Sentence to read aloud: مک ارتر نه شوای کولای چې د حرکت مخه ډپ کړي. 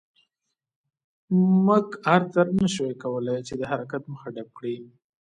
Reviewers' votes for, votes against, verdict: 2, 0, accepted